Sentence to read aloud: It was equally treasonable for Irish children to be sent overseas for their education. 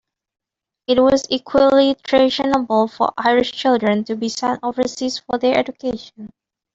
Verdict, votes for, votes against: accepted, 2, 1